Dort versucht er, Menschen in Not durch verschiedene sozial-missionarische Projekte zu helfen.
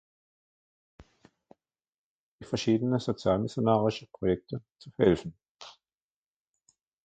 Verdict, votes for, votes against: rejected, 0, 2